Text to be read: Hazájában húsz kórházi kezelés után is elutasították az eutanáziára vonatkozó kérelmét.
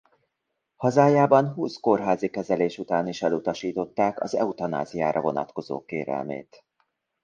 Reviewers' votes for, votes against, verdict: 2, 0, accepted